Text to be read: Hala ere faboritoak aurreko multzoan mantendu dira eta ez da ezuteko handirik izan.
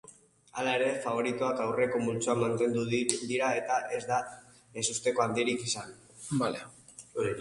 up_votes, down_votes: 0, 2